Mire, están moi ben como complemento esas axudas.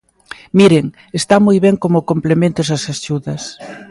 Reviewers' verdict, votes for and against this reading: rejected, 0, 2